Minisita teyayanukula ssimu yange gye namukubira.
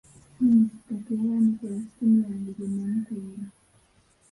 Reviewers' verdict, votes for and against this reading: rejected, 1, 2